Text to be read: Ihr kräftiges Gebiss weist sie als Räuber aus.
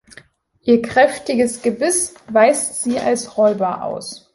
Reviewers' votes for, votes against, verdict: 2, 0, accepted